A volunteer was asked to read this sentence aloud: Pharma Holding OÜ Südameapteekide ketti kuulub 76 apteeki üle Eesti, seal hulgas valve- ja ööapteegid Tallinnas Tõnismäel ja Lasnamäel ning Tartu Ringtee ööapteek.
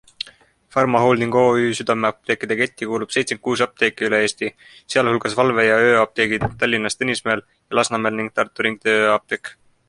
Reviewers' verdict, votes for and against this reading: rejected, 0, 2